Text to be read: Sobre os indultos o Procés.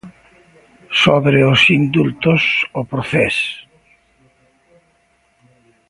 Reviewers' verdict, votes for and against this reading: accepted, 2, 0